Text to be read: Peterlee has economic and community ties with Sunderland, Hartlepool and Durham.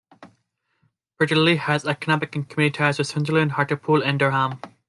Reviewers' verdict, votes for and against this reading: accepted, 2, 1